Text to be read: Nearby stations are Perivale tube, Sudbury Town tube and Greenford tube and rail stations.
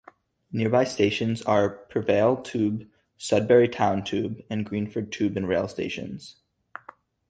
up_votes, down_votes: 0, 2